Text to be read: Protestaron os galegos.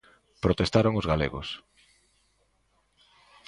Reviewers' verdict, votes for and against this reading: accepted, 2, 0